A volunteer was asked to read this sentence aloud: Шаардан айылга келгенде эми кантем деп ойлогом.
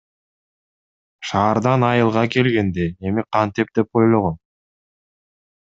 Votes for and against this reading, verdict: 1, 2, rejected